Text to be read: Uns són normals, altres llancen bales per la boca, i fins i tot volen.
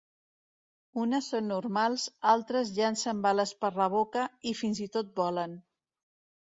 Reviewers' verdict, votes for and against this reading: rejected, 1, 2